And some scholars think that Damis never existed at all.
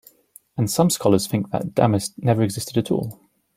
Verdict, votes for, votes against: accepted, 2, 0